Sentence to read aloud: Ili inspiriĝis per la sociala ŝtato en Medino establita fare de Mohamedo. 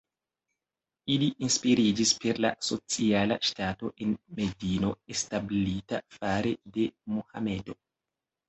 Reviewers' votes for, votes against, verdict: 2, 0, accepted